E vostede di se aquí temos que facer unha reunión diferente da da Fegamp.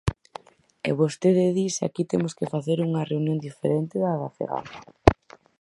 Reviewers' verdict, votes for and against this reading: accepted, 4, 0